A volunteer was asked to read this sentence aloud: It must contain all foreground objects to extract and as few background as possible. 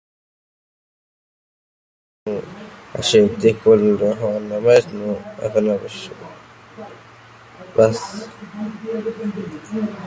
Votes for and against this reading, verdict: 0, 2, rejected